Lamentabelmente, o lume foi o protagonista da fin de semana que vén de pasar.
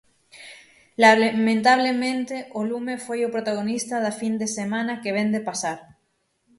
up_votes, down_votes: 0, 6